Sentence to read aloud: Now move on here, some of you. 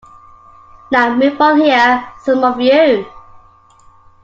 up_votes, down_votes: 2, 1